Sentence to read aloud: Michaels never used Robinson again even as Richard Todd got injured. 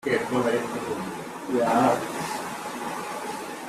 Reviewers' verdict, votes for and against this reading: rejected, 0, 3